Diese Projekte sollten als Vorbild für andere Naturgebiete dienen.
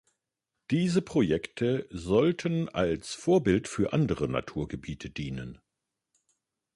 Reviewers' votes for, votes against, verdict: 2, 0, accepted